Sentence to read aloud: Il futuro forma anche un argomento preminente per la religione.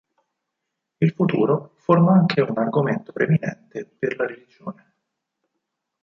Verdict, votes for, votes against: accepted, 6, 2